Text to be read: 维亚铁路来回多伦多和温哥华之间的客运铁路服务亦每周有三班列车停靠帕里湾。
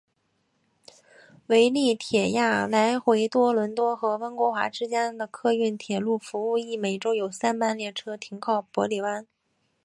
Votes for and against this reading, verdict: 2, 0, accepted